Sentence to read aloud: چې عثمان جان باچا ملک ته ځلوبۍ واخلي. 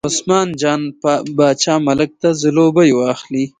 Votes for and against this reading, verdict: 2, 0, accepted